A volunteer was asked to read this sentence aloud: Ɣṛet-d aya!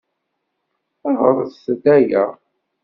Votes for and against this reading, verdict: 2, 0, accepted